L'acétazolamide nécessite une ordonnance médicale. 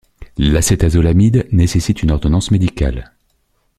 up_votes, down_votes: 2, 0